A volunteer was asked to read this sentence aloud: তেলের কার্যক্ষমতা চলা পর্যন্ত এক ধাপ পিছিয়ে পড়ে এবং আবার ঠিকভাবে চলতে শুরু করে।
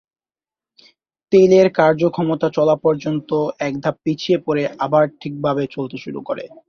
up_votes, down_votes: 2, 2